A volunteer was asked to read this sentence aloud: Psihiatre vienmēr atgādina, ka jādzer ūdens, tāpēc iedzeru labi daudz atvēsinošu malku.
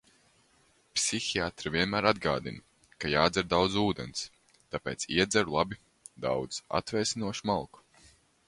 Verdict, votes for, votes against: rejected, 1, 2